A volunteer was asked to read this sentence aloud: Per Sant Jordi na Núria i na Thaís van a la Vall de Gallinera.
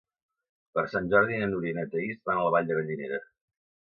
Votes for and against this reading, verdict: 2, 0, accepted